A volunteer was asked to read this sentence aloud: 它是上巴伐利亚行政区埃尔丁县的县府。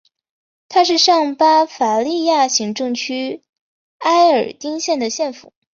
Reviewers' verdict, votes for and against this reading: accepted, 5, 0